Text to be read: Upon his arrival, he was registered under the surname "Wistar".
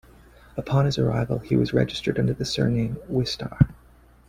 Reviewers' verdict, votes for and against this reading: accepted, 2, 0